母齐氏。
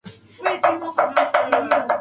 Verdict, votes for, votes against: rejected, 0, 2